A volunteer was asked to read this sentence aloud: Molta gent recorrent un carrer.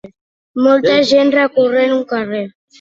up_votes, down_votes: 4, 1